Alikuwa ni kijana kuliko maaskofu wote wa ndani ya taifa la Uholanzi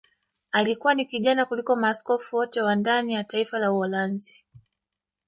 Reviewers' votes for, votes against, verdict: 2, 1, accepted